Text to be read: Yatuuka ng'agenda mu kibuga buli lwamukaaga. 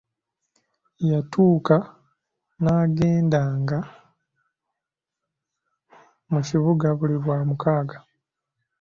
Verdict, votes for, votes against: rejected, 0, 2